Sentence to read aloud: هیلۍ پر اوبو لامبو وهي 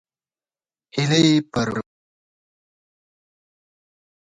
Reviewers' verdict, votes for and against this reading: rejected, 0, 2